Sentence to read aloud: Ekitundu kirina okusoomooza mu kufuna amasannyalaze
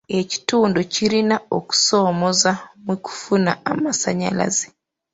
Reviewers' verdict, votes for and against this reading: accepted, 2, 0